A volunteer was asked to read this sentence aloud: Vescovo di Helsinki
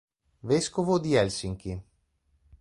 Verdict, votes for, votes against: accepted, 4, 0